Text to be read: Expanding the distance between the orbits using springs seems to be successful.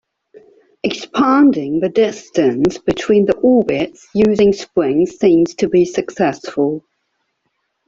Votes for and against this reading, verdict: 0, 2, rejected